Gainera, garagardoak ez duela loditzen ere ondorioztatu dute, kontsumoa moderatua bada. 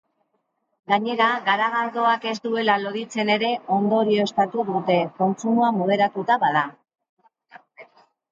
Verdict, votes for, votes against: rejected, 0, 2